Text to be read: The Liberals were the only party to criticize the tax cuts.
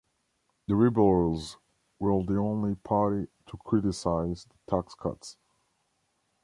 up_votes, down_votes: 0, 2